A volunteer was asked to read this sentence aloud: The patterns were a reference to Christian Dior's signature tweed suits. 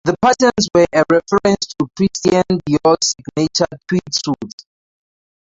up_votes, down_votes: 0, 2